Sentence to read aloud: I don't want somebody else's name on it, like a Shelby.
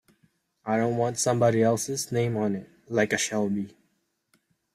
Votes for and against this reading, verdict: 1, 2, rejected